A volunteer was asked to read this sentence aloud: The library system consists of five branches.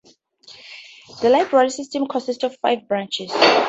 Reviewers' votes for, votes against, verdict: 2, 2, rejected